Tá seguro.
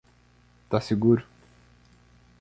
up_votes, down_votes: 2, 0